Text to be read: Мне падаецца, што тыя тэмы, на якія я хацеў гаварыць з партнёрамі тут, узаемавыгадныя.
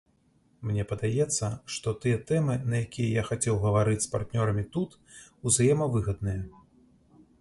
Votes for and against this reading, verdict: 2, 0, accepted